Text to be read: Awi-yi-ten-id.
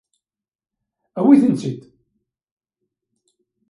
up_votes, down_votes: 1, 2